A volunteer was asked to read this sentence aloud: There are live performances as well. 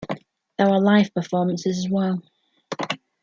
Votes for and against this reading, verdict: 2, 0, accepted